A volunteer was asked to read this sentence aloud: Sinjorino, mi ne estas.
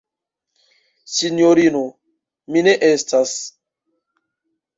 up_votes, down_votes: 2, 0